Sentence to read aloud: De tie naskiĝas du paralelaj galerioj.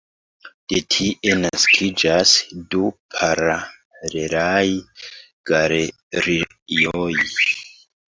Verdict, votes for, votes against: rejected, 1, 2